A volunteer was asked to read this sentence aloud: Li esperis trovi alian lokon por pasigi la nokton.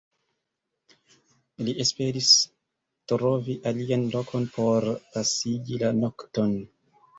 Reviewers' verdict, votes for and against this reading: rejected, 0, 2